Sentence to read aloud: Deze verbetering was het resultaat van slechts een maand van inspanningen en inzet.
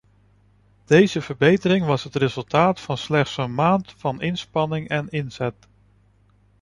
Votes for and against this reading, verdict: 1, 2, rejected